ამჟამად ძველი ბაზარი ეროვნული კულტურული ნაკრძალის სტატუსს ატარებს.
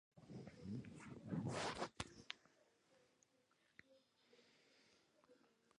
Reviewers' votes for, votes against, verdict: 2, 1, accepted